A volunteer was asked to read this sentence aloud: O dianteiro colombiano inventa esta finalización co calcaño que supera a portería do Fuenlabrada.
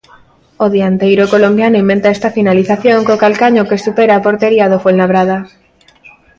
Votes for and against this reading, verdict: 2, 0, accepted